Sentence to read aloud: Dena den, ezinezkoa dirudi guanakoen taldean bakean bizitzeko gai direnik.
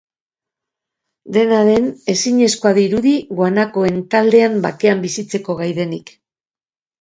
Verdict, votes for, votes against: rejected, 0, 2